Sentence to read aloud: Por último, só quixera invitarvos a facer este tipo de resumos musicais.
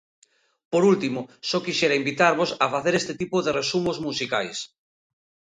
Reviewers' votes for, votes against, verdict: 2, 0, accepted